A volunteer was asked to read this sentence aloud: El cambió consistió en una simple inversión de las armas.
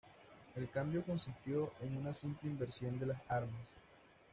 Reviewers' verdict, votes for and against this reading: accepted, 2, 0